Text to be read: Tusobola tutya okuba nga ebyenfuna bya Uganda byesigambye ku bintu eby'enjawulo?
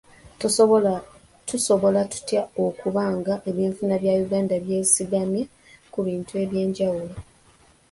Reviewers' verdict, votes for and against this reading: rejected, 2, 3